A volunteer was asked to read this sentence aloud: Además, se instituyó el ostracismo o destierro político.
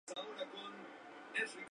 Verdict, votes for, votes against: rejected, 0, 2